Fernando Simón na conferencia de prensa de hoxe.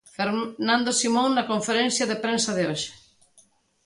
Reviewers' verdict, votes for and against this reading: rejected, 1, 2